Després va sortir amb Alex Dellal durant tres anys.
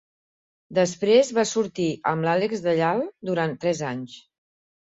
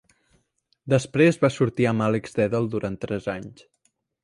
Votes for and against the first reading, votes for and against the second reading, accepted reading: 0, 4, 2, 0, second